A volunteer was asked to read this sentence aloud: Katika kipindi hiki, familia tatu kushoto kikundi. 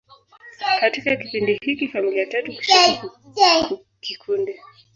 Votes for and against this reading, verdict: 2, 3, rejected